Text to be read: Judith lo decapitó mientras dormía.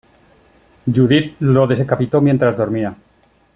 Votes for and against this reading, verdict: 1, 2, rejected